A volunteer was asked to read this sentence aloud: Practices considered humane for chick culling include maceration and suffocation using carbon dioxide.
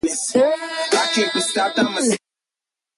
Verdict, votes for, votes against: rejected, 0, 2